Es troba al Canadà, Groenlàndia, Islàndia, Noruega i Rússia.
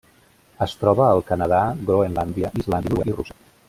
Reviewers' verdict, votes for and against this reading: rejected, 0, 2